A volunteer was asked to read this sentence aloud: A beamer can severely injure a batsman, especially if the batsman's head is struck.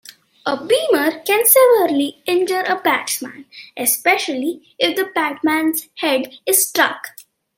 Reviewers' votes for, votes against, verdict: 0, 2, rejected